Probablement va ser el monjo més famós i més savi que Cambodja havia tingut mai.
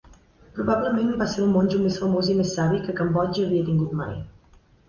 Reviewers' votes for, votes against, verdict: 4, 0, accepted